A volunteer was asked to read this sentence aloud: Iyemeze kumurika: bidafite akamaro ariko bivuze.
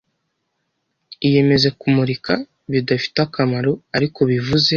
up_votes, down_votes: 2, 0